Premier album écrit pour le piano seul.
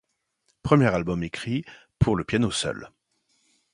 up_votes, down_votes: 2, 0